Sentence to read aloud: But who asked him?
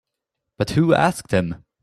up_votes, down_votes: 1, 2